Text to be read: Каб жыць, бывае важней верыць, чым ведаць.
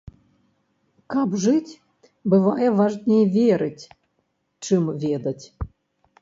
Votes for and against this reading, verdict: 2, 0, accepted